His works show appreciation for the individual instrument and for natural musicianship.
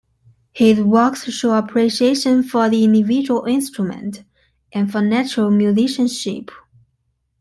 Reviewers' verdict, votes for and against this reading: accepted, 2, 0